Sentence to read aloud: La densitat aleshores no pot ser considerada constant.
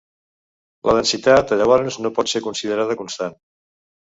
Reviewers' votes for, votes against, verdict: 0, 3, rejected